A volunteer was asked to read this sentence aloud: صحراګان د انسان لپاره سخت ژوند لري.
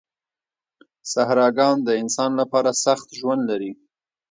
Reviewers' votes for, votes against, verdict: 2, 0, accepted